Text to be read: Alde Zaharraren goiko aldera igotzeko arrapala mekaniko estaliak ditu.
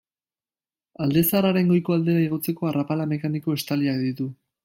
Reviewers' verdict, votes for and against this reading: rejected, 1, 2